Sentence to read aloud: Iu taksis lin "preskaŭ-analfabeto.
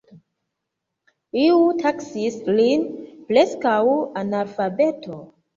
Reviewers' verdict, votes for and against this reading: accepted, 2, 1